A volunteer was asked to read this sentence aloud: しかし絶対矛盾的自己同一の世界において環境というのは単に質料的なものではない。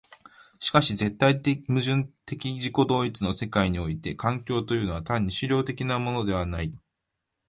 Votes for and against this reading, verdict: 1, 2, rejected